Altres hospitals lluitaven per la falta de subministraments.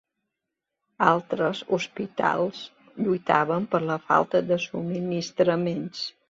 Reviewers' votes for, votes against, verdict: 2, 0, accepted